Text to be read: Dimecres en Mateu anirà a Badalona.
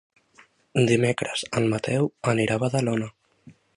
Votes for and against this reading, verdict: 2, 0, accepted